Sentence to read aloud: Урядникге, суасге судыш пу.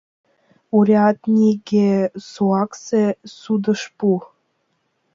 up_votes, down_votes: 0, 2